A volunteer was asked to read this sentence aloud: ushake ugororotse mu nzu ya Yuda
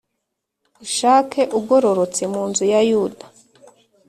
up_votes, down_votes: 2, 0